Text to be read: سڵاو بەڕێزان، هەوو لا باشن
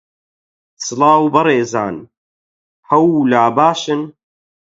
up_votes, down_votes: 8, 0